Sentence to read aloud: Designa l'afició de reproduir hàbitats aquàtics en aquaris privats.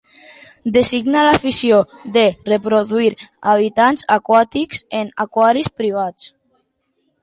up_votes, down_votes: 3, 1